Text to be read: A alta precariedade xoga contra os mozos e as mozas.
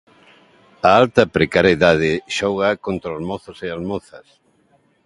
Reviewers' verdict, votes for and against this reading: accepted, 2, 1